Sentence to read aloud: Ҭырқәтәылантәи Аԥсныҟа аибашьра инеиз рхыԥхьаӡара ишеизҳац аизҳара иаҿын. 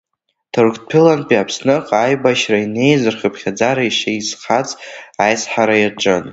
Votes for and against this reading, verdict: 0, 2, rejected